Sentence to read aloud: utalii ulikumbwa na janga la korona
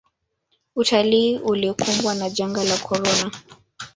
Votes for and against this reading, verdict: 1, 2, rejected